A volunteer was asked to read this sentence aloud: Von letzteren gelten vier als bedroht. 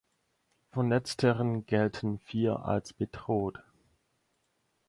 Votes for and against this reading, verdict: 4, 0, accepted